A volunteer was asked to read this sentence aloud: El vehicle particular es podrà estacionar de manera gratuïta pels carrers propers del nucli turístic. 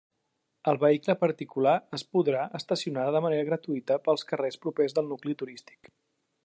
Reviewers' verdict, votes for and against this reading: rejected, 1, 2